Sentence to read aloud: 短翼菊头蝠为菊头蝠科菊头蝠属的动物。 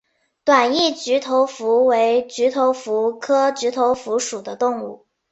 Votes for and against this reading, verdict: 2, 0, accepted